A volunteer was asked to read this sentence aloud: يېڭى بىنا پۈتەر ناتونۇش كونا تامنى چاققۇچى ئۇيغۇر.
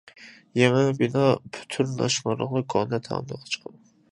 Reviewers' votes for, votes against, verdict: 0, 2, rejected